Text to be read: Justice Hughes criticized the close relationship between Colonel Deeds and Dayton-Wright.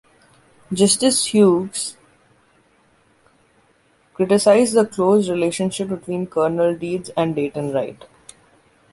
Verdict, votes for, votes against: rejected, 0, 2